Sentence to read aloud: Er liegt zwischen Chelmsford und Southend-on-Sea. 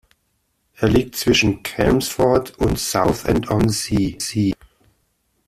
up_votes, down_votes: 0, 2